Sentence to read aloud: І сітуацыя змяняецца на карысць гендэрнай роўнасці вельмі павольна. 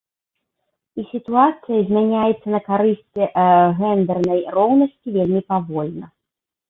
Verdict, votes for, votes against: rejected, 1, 2